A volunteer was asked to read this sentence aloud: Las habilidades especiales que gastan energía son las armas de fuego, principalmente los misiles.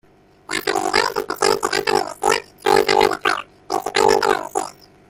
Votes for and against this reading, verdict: 0, 2, rejected